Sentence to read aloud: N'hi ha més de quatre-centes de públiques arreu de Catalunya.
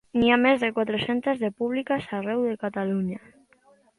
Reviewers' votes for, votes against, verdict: 0, 2, rejected